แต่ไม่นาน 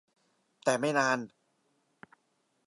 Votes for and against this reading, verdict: 2, 0, accepted